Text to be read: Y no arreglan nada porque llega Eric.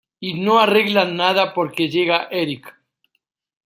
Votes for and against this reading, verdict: 2, 0, accepted